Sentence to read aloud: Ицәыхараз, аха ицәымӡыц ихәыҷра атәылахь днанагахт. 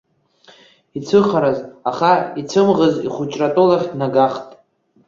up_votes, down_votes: 1, 2